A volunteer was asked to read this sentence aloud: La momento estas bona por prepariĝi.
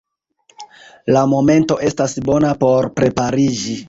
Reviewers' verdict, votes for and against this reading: accepted, 2, 0